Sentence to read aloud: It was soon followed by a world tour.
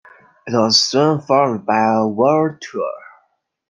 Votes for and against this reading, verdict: 2, 1, accepted